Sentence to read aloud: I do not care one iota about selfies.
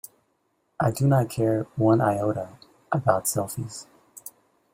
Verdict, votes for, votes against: accepted, 2, 0